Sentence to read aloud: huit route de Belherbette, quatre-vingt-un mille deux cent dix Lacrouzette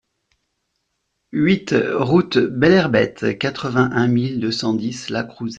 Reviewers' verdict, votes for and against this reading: rejected, 1, 2